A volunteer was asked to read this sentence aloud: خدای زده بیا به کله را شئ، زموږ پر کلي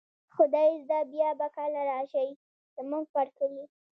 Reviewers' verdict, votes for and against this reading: rejected, 1, 2